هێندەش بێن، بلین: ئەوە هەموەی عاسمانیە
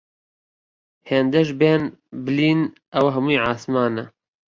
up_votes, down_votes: 1, 3